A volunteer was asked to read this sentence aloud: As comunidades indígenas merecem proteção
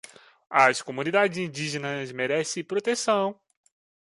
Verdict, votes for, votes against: rejected, 1, 2